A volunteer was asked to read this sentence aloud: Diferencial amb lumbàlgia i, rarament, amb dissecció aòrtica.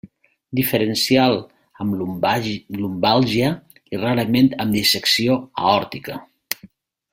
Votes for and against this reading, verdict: 0, 2, rejected